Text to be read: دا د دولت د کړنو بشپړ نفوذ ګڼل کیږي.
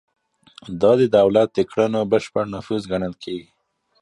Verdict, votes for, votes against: rejected, 1, 2